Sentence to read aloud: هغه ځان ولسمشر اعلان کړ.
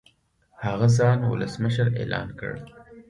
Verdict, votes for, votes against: accepted, 2, 0